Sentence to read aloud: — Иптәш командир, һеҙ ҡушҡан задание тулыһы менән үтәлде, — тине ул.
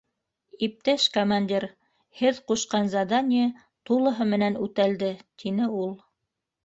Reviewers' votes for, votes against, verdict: 2, 0, accepted